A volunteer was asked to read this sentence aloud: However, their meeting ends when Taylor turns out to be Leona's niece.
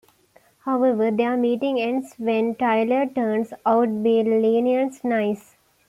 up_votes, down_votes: 1, 2